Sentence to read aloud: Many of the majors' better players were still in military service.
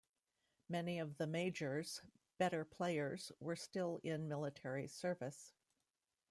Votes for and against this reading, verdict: 1, 2, rejected